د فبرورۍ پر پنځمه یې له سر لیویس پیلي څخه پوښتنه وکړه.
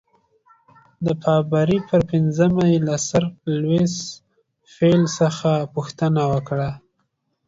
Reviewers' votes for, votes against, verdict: 0, 2, rejected